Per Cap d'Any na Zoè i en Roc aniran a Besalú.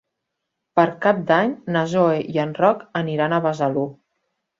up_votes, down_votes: 1, 2